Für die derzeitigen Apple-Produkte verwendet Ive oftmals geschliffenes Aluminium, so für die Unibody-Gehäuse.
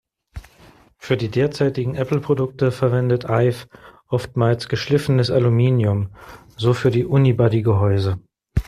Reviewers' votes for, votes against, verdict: 2, 0, accepted